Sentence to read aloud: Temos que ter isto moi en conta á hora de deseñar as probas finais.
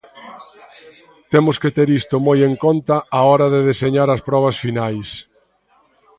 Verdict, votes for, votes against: accepted, 2, 0